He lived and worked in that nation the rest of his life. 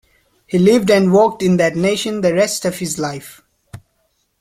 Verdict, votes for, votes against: accepted, 2, 0